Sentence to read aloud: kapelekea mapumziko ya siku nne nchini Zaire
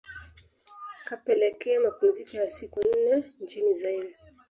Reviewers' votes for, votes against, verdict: 2, 1, accepted